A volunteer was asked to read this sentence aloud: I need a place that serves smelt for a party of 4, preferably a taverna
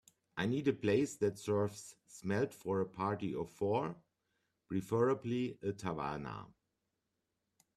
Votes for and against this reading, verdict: 0, 2, rejected